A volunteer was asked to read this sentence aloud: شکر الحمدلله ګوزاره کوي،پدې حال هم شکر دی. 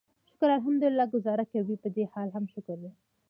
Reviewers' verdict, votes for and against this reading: accepted, 2, 1